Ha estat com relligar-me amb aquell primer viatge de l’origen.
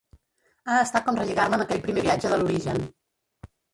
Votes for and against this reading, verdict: 2, 3, rejected